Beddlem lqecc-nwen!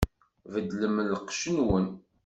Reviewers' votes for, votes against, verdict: 2, 0, accepted